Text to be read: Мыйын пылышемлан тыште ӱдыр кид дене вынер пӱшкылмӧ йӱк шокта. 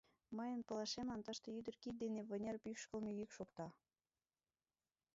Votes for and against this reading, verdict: 2, 6, rejected